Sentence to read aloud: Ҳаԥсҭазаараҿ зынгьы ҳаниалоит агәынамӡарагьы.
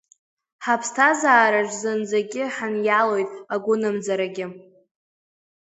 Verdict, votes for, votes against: rejected, 1, 2